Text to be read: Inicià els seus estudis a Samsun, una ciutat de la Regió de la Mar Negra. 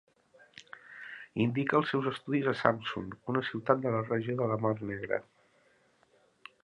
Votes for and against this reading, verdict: 0, 2, rejected